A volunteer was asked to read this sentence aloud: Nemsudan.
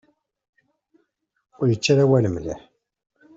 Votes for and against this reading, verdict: 0, 2, rejected